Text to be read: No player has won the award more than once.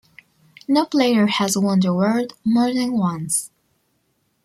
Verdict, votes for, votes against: accepted, 2, 0